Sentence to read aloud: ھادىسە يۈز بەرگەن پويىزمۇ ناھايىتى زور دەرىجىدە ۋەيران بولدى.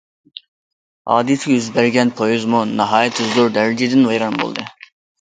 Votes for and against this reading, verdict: 0, 2, rejected